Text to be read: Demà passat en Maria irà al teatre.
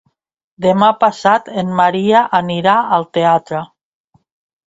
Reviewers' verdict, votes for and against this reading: rejected, 1, 2